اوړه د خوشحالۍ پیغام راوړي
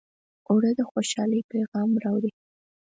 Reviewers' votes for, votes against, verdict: 4, 0, accepted